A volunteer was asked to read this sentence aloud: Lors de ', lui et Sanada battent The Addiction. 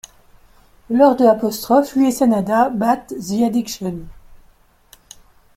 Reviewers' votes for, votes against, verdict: 1, 2, rejected